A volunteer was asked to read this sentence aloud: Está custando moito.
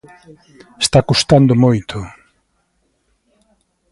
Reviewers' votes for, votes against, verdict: 2, 0, accepted